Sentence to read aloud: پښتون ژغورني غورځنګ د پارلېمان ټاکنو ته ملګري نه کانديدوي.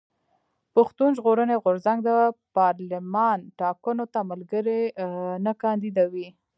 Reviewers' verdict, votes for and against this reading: rejected, 1, 2